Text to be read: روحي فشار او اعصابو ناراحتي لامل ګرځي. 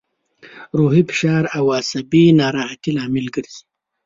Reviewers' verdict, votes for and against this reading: rejected, 1, 2